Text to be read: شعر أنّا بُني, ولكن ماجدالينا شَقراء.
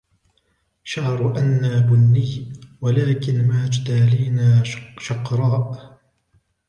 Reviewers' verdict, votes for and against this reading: rejected, 0, 3